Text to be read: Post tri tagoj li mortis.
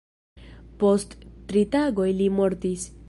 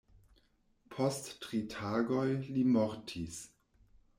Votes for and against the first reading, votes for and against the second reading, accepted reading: 1, 2, 2, 0, second